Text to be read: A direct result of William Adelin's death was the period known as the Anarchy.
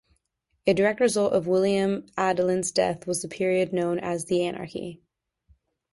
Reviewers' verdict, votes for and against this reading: accepted, 2, 0